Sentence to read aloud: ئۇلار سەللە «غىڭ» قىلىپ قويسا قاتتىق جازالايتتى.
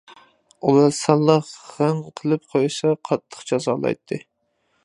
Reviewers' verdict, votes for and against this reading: rejected, 0, 2